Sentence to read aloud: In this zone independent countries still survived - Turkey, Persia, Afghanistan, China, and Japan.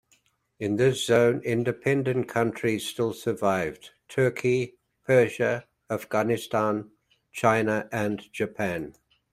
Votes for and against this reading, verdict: 2, 0, accepted